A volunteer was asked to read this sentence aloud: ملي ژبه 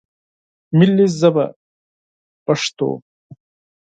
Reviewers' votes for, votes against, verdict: 0, 4, rejected